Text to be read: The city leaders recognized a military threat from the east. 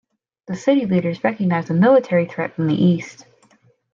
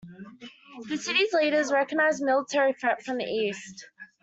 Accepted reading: first